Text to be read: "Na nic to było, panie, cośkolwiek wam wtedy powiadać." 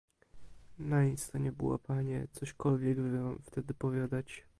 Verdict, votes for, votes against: rejected, 0, 2